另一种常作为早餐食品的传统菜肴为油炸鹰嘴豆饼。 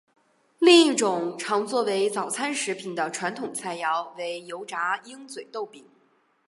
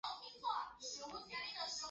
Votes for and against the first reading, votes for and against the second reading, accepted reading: 4, 0, 0, 2, first